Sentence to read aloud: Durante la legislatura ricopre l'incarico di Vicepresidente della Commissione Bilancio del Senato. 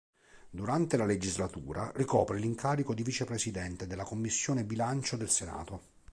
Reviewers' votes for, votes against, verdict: 2, 0, accepted